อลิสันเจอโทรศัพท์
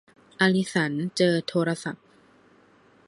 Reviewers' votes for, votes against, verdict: 2, 0, accepted